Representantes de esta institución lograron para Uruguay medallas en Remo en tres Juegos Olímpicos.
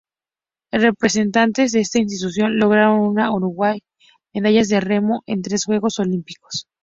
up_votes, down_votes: 2, 2